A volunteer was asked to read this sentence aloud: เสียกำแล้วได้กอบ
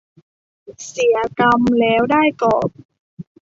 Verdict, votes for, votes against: rejected, 1, 2